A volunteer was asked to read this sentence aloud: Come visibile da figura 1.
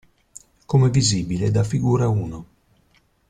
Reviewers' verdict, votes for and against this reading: rejected, 0, 2